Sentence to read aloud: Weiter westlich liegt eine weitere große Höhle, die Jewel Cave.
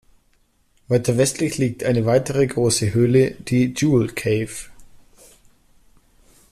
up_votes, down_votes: 2, 0